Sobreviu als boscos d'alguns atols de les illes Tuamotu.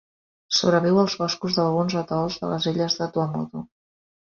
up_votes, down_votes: 2, 3